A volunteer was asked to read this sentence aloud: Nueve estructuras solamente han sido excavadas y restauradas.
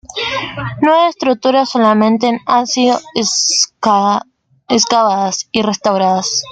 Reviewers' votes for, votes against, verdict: 0, 2, rejected